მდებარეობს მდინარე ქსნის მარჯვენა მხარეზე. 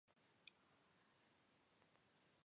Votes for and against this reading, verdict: 2, 0, accepted